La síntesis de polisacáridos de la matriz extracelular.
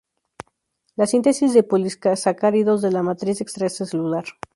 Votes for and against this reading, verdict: 0, 2, rejected